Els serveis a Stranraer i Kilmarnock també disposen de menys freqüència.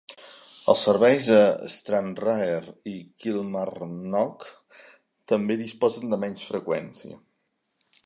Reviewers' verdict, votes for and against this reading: accepted, 3, 1